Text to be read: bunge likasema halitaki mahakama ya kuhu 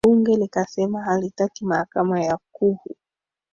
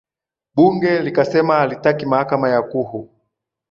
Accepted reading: second